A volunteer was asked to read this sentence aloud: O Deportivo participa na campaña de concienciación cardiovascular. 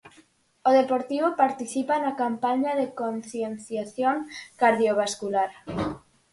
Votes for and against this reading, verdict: 4, 0, accepted